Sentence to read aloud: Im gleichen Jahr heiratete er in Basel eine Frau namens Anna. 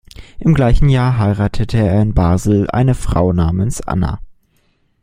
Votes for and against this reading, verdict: 2, 0, accepted